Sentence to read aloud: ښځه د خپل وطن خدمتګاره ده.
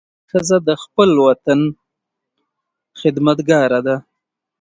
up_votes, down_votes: 0, 2